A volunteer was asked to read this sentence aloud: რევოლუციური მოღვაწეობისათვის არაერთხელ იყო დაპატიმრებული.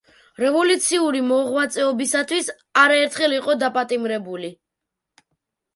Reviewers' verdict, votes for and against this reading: rejected, 0, 2